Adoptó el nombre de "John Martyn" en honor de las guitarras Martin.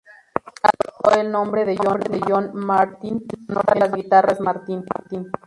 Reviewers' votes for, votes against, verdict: 2, 2, rejected